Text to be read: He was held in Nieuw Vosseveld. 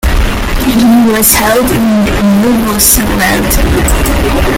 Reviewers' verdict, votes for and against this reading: rejected, 0, 2